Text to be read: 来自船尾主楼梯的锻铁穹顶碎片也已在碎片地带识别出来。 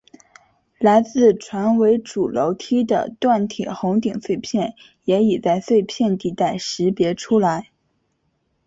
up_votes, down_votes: 3, 0